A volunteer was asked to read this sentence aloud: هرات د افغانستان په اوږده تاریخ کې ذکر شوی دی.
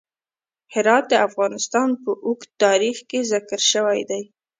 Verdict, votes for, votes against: rejected, 1, 2